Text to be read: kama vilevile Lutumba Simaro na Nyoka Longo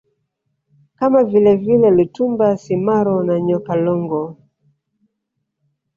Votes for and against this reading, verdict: 1, 2, rejected